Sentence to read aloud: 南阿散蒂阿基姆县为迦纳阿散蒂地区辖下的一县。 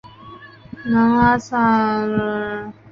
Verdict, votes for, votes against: rejected, 0, 2